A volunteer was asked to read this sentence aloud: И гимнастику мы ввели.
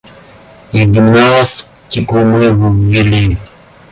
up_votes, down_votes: 0, 2